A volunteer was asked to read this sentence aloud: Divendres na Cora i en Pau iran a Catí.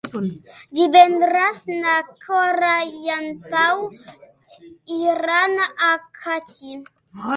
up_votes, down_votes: 1, 2